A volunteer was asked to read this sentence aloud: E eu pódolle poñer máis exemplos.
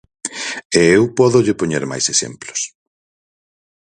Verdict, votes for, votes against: accepted, 4, 0